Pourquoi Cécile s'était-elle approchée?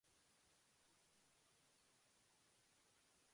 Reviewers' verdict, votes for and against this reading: rejected, 0, 2